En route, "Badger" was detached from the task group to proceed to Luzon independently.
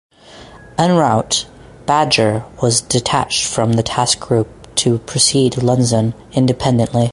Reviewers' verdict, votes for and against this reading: rejected, 2, 2